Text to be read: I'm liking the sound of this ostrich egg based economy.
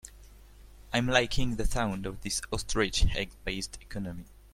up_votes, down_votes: 2, 0